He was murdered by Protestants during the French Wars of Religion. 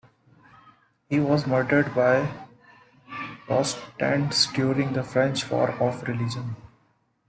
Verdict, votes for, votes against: rejected, 0, 2